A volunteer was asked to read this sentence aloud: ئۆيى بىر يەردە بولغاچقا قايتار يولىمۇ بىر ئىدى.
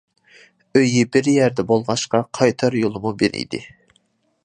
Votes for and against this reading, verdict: 2, 0, accepted